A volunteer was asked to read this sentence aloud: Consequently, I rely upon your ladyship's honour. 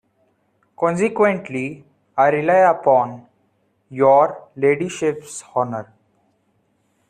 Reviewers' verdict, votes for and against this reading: accepted, 2, 1